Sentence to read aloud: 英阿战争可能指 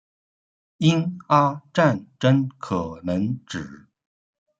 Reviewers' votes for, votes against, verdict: 2, 0, accepted